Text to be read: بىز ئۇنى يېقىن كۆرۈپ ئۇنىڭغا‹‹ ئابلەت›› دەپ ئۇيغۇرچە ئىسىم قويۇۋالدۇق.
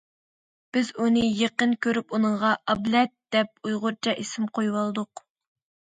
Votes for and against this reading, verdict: 2, 0, accepted